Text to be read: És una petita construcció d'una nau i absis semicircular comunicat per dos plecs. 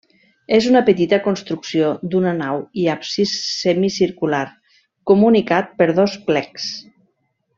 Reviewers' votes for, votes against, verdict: 3, 0, accepted